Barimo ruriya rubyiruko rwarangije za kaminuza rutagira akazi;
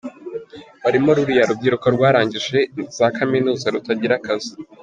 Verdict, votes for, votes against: accepted, 3, 0